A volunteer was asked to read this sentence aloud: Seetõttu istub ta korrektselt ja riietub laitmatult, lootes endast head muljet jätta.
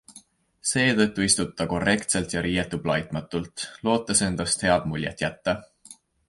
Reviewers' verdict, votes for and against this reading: accepted, 2, 0